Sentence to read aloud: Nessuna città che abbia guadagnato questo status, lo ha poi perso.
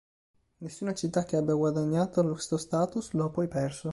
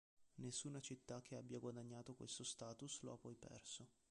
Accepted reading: first